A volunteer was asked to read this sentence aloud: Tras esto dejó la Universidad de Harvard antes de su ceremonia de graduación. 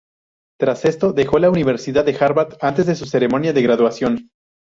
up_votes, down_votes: 0, 2